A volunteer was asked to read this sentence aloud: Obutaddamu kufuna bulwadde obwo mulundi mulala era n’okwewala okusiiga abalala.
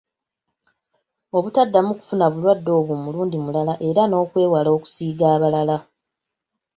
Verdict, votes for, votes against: accepted, 2, 0